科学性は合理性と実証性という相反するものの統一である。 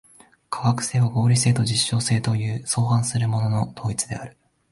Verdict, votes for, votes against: rejected, 1, 2